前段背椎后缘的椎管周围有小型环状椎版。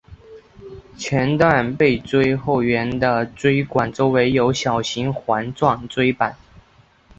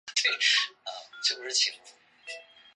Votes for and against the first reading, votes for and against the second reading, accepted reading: 3, 0, 2, 2, first